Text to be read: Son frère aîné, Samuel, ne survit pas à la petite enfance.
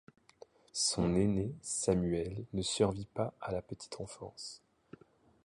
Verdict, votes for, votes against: accepted, 2, 0